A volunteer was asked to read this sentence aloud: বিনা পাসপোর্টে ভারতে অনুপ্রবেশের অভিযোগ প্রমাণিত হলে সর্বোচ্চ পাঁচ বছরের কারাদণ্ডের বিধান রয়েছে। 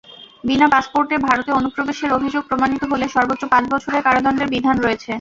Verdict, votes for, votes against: accepted, 2, 0